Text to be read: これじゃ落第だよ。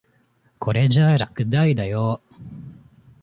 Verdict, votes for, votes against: accepted, 2, 0